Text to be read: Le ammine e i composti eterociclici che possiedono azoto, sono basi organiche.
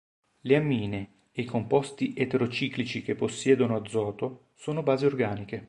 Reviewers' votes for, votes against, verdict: 2, 0, accepted